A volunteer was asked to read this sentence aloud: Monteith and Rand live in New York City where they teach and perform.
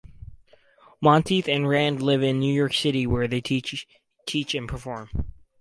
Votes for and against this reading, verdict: 2, 4, rejected